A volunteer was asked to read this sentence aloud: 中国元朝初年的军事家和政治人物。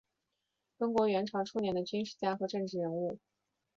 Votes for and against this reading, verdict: 3, 0, accepted